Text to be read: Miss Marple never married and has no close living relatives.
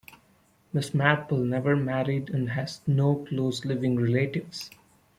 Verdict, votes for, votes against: accepted, 2, 0